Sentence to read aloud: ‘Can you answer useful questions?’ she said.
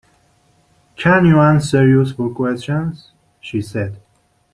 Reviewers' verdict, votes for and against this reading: accepted, 2, 1